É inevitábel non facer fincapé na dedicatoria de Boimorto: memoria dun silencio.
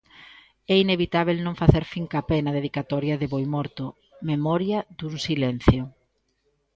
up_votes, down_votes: 1, 2